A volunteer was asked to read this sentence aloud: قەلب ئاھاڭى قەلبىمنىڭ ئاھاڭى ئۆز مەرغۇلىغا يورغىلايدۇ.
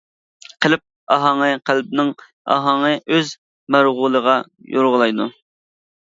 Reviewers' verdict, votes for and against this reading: rejected, 0, 2